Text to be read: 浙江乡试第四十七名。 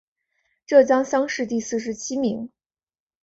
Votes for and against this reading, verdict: 4, 0, accepted